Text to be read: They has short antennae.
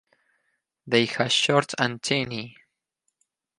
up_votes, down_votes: 4, 0